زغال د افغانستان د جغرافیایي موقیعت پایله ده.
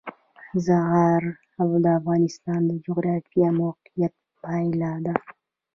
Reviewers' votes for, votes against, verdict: 1, 2, rejected